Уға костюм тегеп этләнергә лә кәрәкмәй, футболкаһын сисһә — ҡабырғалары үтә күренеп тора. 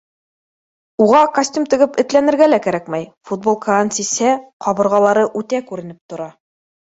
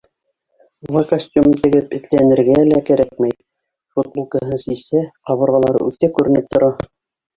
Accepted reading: first